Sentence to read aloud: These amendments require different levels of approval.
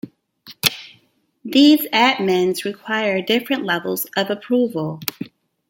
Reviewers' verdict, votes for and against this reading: rejected, 1, 2